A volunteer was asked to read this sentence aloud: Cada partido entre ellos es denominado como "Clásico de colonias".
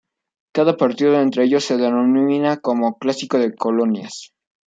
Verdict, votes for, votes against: rejected, 1, 2